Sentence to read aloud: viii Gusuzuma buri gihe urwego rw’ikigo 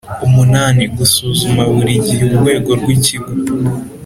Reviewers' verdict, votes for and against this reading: accepted, 3, 0